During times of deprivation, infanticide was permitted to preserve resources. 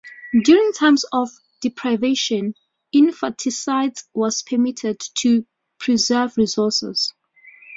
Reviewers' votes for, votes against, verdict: 2, 0, accepted